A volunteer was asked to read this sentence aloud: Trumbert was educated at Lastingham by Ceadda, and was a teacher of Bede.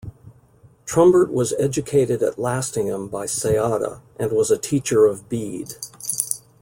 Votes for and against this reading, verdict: 2, 0, accepted